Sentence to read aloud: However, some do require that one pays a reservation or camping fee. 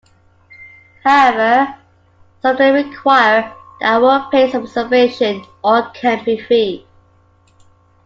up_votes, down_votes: 0, 2